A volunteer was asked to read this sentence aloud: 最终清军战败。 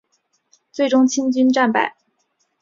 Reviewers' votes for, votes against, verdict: 2, 0, accepted